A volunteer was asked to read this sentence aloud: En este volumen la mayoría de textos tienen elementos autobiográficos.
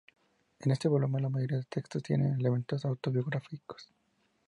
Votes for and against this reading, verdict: 2, 0, accepted